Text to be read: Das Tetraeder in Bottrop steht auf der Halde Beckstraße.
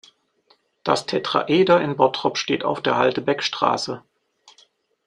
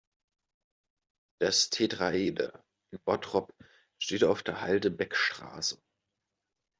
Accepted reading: first